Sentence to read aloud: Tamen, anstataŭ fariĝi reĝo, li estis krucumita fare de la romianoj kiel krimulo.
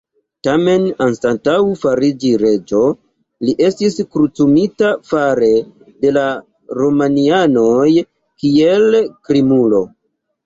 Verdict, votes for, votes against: rejected, 0, 2